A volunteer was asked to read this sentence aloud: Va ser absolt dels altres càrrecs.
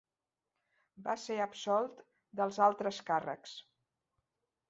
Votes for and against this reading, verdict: 3, 0, accepted